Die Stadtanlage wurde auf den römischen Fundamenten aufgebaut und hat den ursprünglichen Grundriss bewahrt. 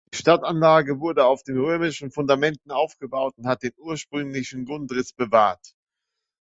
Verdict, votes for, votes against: rejected, 0, 2